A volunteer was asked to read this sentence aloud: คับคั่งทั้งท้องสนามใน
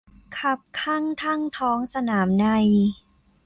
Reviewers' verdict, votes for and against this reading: accepted, 2, 0